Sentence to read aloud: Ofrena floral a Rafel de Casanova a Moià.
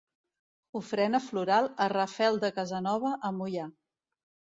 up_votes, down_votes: 2, 0